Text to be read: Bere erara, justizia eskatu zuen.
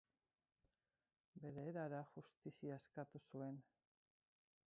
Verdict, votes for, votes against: rejected, 0, 4